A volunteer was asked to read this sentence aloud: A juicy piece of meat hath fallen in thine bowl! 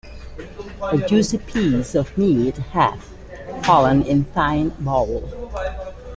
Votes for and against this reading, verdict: 2, 0, accepted